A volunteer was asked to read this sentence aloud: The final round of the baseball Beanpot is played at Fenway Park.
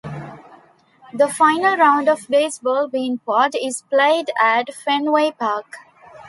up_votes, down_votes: 2, 0